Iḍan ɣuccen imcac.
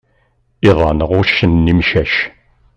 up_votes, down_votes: 2, 0